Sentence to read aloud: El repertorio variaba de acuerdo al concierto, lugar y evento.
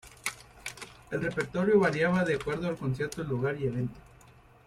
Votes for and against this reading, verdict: 3, 1, accepted